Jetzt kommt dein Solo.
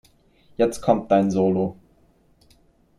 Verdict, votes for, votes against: accepted, 2, 0